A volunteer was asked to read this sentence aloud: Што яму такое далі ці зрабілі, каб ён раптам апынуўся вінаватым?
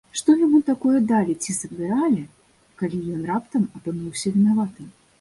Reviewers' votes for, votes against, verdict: 1, 2, rejected